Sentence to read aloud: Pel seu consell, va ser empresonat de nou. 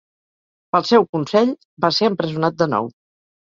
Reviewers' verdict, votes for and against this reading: accepted, 4, 0